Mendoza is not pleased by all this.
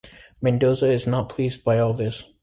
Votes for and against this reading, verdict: 2, 1, accepted